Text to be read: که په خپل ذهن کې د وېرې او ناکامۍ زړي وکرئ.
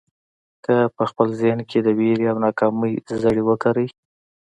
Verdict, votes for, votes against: accepted, 2, 0